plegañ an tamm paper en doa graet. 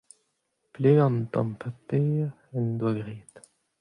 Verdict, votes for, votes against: accepted, 2, 0